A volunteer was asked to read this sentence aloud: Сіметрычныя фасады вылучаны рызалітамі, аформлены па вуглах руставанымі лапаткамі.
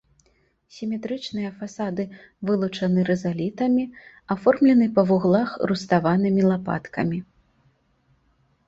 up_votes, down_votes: 2, 0